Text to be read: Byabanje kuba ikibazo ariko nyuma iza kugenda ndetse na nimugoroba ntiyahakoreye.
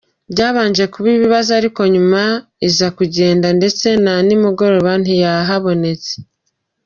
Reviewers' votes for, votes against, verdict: 0, 2, rejected